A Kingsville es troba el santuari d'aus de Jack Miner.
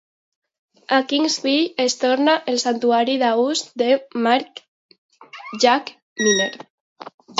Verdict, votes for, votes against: rejected, 0, 2